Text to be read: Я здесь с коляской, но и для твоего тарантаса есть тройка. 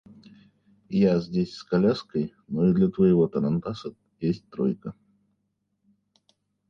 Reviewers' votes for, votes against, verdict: 0, 2, rejected